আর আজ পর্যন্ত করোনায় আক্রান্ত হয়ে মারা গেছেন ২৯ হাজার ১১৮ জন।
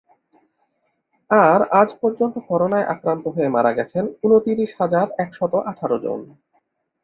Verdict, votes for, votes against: rejected, 0, 2